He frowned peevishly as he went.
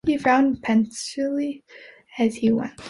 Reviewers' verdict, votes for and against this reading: rejected, 0, 2